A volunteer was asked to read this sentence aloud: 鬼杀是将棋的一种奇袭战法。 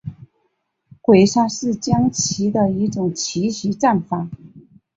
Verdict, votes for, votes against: accepted, 2, 0